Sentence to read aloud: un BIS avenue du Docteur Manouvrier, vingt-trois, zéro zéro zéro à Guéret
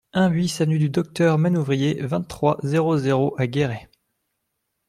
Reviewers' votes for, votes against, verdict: 0, 2, rejected